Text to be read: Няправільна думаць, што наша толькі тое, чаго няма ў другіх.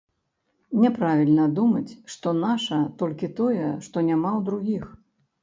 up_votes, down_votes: 1, 2